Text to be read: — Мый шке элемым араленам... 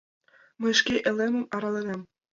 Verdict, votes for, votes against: accepted, 2, 0